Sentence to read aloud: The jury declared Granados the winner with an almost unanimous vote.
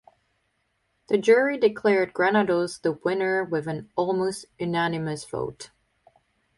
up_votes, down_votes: 2, 0